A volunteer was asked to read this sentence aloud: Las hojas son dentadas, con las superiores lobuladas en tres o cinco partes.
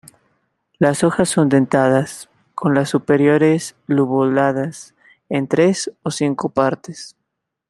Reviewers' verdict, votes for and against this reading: accepted, 2, 0